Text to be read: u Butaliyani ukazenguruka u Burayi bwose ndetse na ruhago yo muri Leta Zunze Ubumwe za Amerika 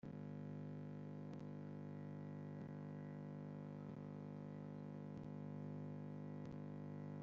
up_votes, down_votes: 1, 2